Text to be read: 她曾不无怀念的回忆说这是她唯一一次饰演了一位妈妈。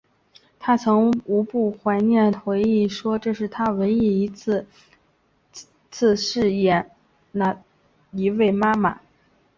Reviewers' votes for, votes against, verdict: 0, 2, rejected